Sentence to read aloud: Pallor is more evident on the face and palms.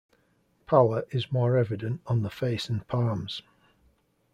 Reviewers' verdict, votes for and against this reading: accepted, 2, 0